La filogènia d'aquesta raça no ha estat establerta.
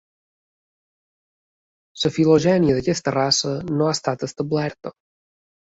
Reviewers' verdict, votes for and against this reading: accepted, 3, 0